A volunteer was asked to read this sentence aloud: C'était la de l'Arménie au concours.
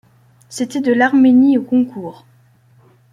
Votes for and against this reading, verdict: 1, 2, rejected